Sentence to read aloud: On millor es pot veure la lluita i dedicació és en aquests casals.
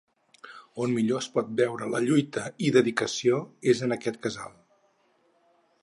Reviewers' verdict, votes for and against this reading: rejected, 0, 4